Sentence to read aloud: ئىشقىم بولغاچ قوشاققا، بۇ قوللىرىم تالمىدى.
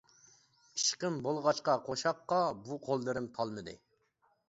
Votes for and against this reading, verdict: 0, 2, rejected